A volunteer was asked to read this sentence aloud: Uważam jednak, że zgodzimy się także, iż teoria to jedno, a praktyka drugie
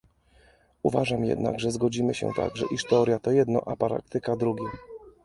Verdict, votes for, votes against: rejected, 0, 2